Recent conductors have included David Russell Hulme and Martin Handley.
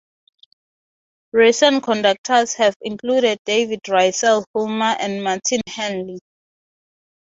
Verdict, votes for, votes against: accepted, 6, 0